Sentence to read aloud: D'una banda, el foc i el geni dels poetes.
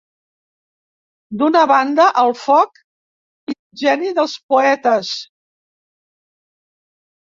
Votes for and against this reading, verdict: 1, 2, rejected